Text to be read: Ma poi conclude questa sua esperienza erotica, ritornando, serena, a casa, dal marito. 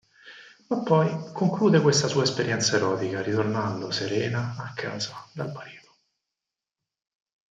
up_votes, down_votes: 2, 4